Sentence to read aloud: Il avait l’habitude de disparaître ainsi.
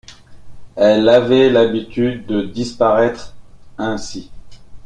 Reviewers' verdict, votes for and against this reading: rejected, 0, 2